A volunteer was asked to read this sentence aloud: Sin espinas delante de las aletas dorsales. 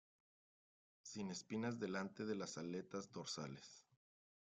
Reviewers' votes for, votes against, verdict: 2, 3, rejected